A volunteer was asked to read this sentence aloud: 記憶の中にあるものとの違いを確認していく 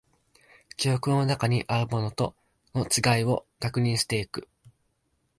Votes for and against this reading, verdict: 2, 0, accepted